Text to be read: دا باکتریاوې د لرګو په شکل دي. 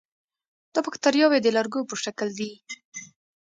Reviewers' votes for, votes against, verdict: 2, 0, accepted